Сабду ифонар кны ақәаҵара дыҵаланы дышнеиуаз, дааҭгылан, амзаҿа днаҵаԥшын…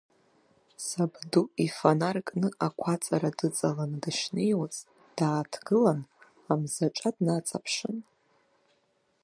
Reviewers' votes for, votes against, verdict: 2, 3, rejected